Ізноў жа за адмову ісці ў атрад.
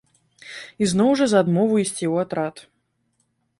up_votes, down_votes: 2, 0